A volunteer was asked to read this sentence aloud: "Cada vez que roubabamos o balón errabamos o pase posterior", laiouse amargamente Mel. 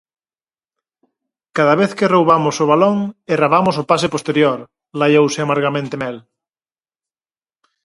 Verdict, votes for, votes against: rejected, 0, 4